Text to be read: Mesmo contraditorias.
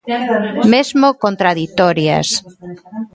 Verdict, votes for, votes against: rejected, 1, 2